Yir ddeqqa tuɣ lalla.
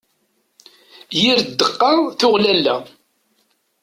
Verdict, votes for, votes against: accepted, 2, 0